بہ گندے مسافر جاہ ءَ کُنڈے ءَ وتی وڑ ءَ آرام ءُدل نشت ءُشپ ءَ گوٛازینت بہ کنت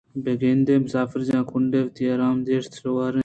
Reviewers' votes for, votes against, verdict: 2, 0, accepted